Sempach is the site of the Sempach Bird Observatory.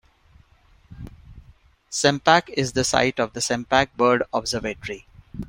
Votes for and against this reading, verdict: 2, 0, accepted